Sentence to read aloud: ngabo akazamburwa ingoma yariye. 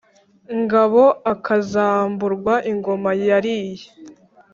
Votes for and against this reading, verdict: 2, 0, accepted